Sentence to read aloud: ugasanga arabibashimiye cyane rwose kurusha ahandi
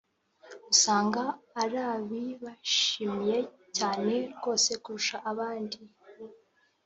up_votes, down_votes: 2, 1